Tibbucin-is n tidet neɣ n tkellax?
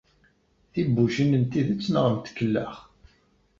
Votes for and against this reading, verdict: 1, 2, rejected